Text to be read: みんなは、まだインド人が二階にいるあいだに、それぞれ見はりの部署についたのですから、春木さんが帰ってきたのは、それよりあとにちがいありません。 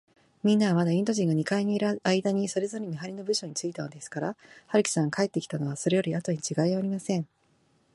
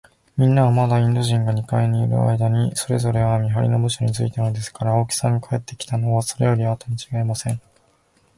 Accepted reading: second